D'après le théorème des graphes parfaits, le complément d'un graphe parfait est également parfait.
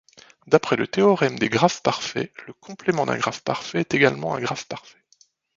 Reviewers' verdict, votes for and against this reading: rejected, 0, 2